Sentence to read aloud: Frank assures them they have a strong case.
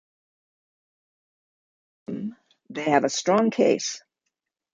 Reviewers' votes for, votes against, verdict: 0, 2, rejected